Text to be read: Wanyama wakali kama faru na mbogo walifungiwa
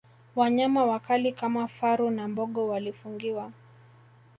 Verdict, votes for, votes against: rejected, 0, 2